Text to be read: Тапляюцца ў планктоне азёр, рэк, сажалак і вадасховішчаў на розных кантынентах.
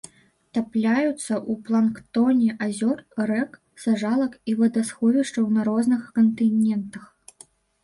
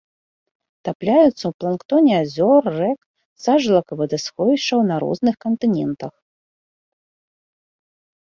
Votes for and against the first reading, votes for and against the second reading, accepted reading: 0, 2, 2, 0, second